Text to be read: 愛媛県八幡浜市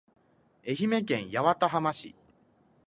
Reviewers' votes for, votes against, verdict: 2, 0, accepted